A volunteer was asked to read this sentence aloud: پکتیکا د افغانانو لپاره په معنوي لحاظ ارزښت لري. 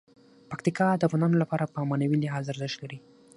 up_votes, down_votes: 6, 0